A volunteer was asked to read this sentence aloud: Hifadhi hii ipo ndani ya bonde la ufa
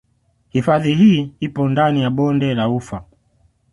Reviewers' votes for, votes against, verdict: 2, 0, accepted